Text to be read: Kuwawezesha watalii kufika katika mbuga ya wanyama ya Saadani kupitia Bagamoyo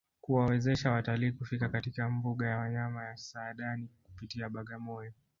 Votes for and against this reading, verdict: 2, 1, accepted